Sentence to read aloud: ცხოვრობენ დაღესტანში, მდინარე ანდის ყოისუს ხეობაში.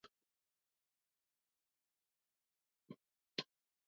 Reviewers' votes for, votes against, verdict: 2, 0, accepted